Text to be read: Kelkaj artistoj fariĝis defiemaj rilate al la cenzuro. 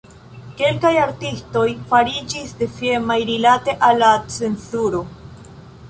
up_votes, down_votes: 0, 2